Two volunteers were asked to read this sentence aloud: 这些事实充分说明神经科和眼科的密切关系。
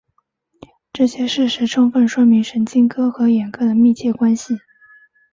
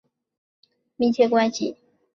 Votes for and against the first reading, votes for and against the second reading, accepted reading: 2, 0, 1, 5, first